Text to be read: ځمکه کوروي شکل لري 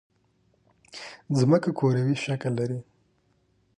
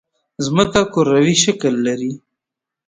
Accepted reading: first